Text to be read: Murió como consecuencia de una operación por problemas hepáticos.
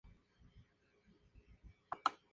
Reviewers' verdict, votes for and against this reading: rejected, 0, 2